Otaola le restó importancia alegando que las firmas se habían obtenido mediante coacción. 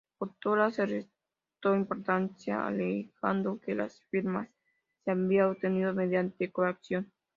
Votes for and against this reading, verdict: 0, 2, rejected